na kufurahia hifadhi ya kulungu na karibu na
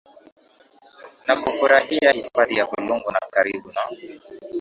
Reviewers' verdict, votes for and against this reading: rejected, 4, 8